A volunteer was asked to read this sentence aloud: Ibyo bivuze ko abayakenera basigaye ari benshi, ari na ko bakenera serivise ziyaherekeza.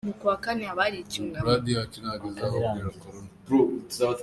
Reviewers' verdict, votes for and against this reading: rejected, 0, 2